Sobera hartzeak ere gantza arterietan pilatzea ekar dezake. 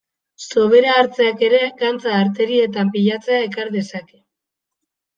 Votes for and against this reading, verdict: 3, 0, accepted